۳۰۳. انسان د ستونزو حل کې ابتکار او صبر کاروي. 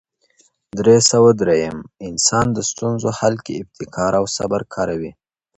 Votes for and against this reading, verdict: 0, 2, rejected